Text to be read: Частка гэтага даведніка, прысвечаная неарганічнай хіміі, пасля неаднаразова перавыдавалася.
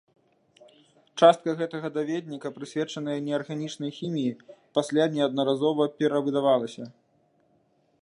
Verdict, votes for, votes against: accepted, 2, 0